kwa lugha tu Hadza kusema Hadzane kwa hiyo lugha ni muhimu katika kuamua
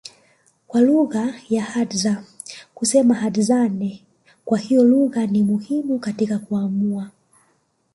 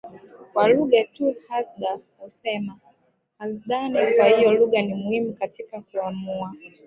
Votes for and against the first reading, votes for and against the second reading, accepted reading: 2, 1, 0, 2, first